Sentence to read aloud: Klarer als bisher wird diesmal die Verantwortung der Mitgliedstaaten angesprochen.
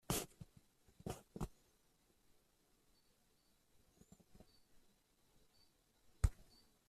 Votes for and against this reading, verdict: 0, 2, rejected